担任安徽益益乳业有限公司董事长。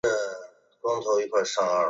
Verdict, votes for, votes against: rejected, 1, 5